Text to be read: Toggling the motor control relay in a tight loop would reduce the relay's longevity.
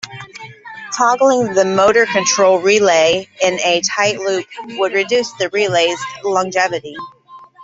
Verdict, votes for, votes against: rejected, 1, 2